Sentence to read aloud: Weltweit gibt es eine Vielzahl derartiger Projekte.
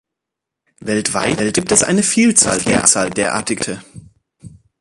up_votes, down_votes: 0, 2